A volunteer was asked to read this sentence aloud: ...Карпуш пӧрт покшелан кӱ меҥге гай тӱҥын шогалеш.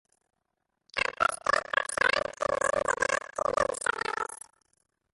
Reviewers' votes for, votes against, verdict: 0, 2, rejected